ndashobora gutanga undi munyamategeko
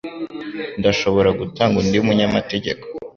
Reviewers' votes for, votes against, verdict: 2, 0, accepted